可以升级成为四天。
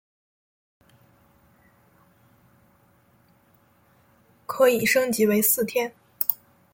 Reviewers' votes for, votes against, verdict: 0, 2, rejected